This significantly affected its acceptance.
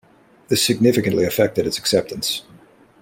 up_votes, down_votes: 2, 0